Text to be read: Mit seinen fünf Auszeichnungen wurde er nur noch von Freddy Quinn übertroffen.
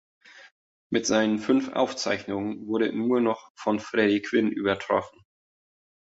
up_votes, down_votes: 0, 2